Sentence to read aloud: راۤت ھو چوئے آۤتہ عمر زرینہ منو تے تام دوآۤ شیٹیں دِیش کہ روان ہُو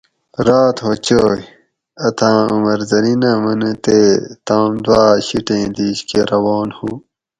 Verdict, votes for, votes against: rejected, 2, 2